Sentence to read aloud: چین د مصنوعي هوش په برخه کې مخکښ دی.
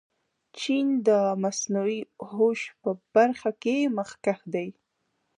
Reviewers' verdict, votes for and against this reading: accepted, 2, 0